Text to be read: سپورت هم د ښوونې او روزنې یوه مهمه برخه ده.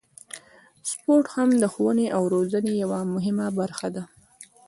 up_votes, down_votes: 2, 0